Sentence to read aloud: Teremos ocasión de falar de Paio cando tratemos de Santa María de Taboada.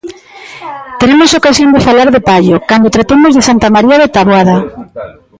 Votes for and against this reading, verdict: 0, 2, rejected